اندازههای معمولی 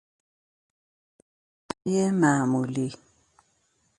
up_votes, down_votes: 0, 2